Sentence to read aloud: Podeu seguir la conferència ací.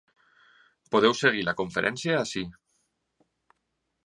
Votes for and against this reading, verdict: 3, 0, accepted